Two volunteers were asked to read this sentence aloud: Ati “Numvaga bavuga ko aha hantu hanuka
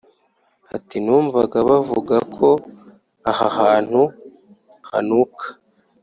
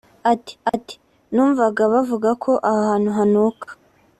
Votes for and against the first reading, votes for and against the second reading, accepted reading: 2, 0, 1, 2, first